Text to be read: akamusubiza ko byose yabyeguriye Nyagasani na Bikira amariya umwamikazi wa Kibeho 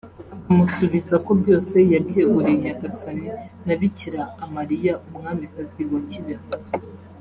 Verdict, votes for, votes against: accepted, 2, 1